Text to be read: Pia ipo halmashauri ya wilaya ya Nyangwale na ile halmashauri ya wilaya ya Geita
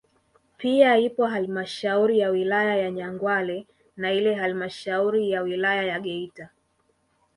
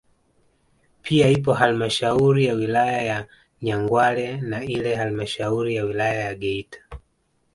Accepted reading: second